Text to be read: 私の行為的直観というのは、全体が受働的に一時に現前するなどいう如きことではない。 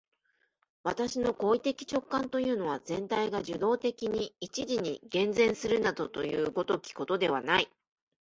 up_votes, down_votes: 1, 2